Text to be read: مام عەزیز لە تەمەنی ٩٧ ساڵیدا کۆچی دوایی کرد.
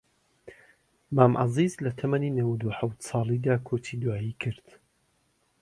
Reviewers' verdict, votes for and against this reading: rejected, 0, 2